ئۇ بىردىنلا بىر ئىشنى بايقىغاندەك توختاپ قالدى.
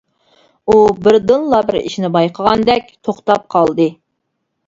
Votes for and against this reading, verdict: 2, 0, accepted